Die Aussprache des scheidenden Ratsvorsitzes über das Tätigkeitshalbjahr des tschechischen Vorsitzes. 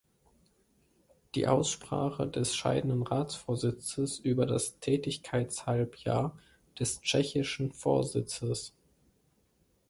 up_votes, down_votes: 2, 0